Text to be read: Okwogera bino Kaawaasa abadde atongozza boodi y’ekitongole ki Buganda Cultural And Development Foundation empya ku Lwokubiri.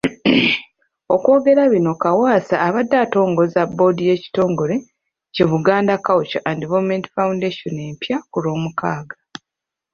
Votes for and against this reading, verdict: 0, 2, rejected